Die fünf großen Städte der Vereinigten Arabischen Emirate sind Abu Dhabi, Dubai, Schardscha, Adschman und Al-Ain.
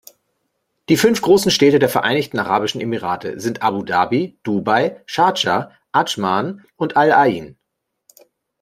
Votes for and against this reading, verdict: 2, 0, accepted